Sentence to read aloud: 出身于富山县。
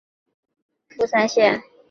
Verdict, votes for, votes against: accepted, 2, 0